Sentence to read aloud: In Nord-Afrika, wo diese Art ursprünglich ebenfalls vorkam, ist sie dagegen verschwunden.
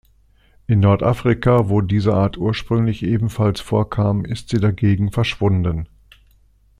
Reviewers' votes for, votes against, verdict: 2, 0, accepted